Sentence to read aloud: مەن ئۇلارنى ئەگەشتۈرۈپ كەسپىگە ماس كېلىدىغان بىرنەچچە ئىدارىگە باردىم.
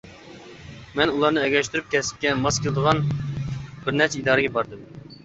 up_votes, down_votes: 0, 2